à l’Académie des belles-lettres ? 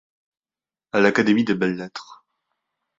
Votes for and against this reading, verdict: 2, 1, accepted